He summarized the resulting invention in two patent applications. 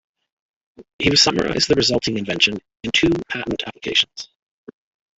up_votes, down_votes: 2, 1